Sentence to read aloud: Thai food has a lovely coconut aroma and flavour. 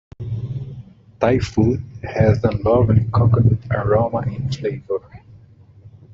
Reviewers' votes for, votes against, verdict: 2, 0, accepted